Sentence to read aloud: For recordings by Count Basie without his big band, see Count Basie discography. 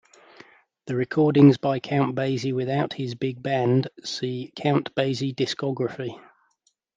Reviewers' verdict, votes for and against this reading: rejected, 0, 2